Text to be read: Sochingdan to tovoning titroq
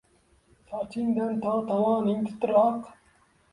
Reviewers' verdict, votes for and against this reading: accepted, 2, 0